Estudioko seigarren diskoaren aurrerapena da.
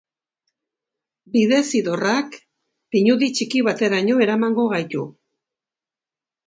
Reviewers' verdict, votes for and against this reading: rejected, 0, 2